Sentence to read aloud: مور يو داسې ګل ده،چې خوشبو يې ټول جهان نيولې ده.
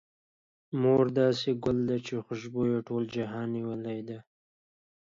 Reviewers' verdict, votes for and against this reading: accepted, 2, 0